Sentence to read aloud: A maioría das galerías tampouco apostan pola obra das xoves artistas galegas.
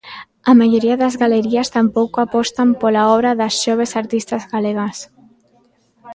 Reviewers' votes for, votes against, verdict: 0, 2, rejected